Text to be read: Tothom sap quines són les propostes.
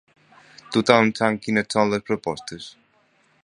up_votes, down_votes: 0, 2